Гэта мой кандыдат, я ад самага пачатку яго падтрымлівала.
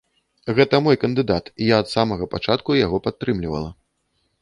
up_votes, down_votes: 1, 2